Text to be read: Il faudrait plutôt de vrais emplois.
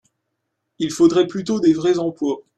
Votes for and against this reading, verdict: 1, 2, rejected